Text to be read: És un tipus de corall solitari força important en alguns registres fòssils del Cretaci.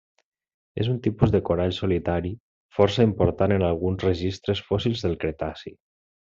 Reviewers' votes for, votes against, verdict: 3, 0, accepted